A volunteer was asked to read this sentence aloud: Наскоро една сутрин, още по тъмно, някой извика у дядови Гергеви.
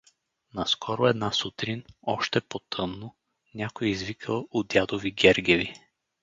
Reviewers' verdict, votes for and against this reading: accepted, 4, 0